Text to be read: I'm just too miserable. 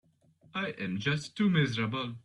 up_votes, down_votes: 2, 3